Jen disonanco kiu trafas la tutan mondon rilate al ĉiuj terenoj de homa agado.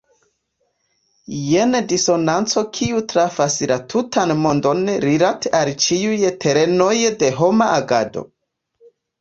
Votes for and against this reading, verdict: 2, 0, accepted